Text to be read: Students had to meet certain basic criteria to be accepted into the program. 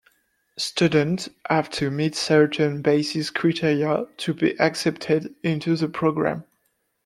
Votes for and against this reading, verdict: 1, 2, rejected